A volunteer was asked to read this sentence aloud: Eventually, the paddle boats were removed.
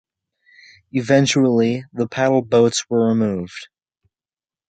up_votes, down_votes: 2, 0